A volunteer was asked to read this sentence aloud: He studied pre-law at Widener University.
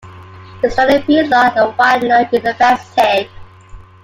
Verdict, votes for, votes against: rejected, 1, 2